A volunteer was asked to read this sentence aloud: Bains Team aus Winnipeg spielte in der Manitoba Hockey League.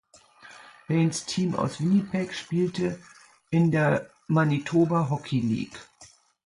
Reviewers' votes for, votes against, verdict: 2, 0, accepted